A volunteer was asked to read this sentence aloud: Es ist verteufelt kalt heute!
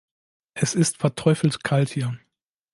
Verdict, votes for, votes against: rejected, 0, 2